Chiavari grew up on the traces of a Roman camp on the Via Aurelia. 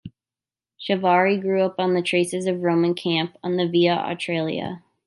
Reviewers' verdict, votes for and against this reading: rejected, 0, 2